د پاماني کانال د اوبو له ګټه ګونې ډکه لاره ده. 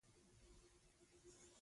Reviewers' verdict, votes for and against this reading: rejected, 0, 2